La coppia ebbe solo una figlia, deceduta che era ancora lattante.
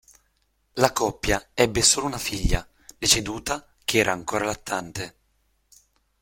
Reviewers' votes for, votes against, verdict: 2, 0, accepted